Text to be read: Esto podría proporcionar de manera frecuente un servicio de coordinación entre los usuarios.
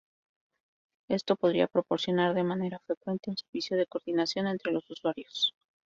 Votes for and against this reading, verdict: 2, 0, accepted